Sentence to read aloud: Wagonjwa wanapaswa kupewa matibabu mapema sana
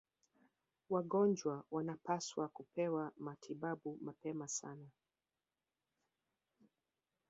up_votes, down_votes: 3, 2